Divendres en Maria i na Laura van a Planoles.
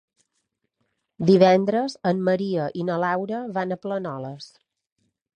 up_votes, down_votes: 2, 0